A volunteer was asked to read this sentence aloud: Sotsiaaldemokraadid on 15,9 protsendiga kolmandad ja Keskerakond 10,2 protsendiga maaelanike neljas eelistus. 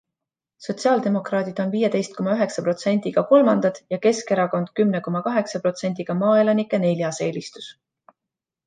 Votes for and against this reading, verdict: 0, 2, rejected